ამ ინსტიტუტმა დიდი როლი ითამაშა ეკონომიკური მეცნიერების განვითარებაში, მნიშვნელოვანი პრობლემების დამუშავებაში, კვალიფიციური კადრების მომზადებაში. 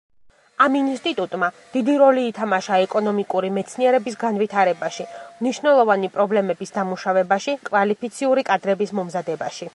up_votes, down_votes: 0, 2